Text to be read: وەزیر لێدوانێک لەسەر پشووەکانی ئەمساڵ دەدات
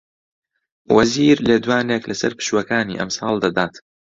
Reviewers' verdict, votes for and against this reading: accepted, 2, 0